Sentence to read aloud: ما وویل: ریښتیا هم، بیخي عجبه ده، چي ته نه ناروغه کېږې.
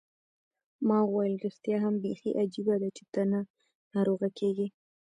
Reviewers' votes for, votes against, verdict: 2, 0, accepted